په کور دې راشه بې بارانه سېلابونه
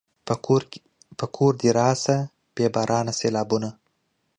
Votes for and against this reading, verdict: 0, 2, rejected